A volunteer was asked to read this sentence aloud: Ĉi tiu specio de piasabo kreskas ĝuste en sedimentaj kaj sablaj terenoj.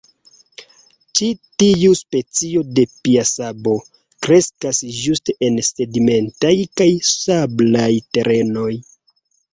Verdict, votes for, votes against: accepted, 2, 0